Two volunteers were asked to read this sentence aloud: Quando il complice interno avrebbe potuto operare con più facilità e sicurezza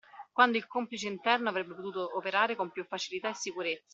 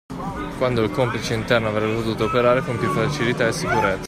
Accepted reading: first